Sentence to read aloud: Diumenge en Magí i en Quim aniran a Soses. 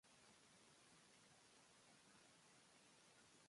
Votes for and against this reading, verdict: 0, 2, rejected